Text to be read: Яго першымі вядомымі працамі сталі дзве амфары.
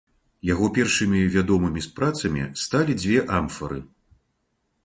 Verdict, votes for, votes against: rejected, 1, 2